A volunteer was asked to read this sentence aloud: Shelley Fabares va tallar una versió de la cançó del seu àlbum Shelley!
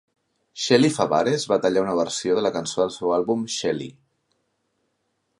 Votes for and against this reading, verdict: 2, 0, accepted